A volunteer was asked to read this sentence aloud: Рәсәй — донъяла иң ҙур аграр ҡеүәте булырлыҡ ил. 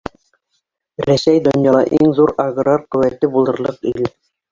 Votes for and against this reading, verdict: 1, 2, rejected